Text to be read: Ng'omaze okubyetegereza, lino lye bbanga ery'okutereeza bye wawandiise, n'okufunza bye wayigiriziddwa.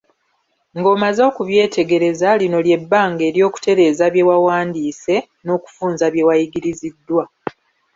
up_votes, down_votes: 1, 2